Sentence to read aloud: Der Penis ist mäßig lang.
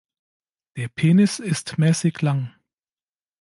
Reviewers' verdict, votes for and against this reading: accepted, 3, 0